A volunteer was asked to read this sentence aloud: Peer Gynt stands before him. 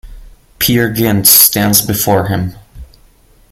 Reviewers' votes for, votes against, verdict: 2, 0, accepted